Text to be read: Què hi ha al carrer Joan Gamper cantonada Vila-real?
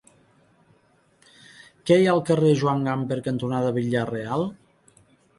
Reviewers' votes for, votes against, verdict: 1, 2, rejected